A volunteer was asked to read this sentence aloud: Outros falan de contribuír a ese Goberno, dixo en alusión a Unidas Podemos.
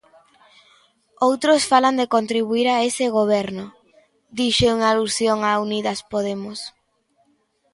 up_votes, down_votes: 2, 0